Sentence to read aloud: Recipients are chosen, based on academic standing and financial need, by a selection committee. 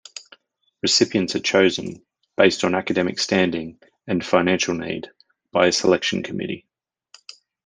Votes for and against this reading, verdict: 2, 0, accepted